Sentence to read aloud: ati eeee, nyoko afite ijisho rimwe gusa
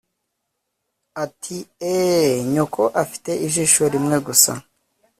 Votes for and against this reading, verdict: 2, 0, accepted